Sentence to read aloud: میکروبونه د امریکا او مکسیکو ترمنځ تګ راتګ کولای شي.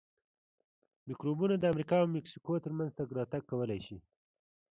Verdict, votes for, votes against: accepted, 2, 0